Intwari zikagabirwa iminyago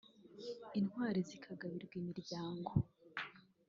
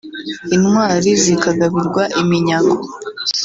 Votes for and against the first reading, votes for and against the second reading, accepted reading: 0, 2, 2, 0, second